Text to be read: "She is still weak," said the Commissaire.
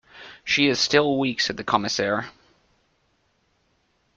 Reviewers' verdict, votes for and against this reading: accepted, 2, 1